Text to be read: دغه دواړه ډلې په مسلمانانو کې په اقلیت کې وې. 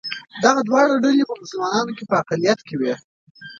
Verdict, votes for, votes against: accepted, 2, 0